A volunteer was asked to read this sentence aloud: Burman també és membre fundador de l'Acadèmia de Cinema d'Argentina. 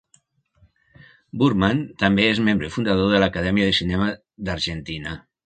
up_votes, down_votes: 3, 0